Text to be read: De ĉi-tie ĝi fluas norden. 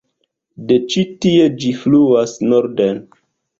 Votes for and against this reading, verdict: 1, 2, rejected